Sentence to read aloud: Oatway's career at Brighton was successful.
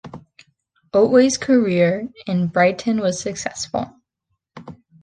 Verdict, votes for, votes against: rejected, 0, 2